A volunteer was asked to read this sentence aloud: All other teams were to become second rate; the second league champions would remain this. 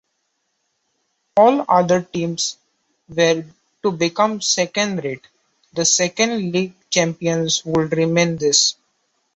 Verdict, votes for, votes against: accepted, 2, 0